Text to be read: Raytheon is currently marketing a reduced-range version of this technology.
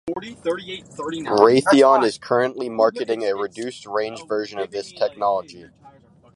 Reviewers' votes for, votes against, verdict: 0, 2, rejected